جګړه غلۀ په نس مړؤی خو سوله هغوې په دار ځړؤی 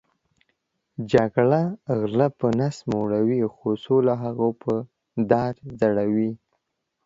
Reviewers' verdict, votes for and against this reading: accepted, 2, 1